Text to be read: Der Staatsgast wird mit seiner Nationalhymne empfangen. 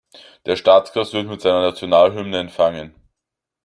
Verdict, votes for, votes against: rejected, 0, 2